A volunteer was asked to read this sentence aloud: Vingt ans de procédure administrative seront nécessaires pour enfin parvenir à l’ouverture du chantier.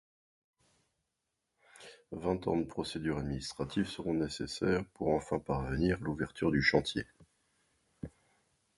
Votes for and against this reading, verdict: 1, 2, rejected